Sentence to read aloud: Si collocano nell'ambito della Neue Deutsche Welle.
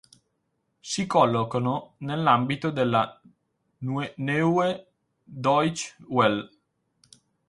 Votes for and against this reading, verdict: 2, 4, rejected